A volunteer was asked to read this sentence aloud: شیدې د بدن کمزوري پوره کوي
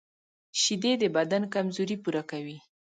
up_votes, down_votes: 3, 0